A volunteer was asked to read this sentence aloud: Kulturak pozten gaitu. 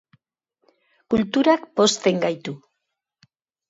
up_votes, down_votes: 2, 0